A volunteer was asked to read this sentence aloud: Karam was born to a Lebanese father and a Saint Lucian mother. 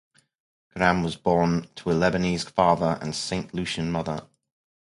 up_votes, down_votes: 2, 0